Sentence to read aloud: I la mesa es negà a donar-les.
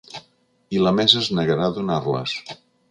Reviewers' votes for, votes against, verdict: 0, 2, rejected